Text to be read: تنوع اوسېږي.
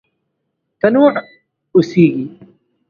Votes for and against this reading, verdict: 1, 2, rejected